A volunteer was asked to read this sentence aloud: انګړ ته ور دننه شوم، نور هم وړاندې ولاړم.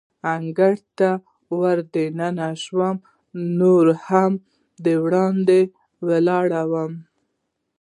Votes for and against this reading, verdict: 1, 2, rejected